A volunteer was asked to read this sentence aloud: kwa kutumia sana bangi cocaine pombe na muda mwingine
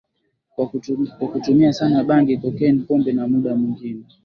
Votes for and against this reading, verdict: 3, 2, accepted